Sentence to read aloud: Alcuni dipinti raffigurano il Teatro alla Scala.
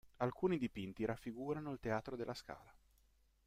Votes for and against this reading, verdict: 1, 2, rejected